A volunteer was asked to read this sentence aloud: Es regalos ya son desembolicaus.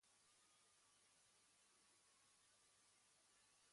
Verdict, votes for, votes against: rejected, 1, 2